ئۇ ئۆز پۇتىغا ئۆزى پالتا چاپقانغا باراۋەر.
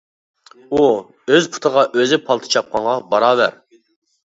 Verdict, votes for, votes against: accepted, 2, 0